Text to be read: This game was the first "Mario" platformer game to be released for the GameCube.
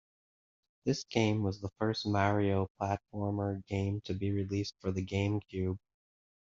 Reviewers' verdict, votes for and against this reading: accepted, 2, 0